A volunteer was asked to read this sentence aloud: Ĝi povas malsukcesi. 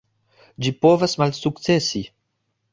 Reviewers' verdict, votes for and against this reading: accepted, 3, 0